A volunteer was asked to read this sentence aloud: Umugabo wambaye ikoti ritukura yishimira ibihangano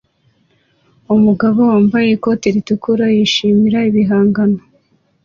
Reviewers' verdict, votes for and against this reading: accepted, 2, 0